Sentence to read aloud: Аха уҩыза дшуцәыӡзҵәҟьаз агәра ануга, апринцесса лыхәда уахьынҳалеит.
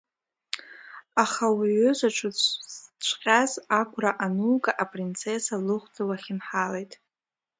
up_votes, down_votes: 0, 2